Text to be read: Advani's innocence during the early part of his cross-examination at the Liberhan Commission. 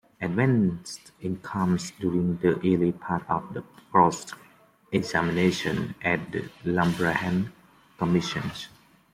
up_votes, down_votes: 2, 0